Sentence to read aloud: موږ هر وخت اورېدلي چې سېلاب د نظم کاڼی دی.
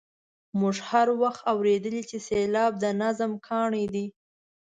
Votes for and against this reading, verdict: 1, 2, rejected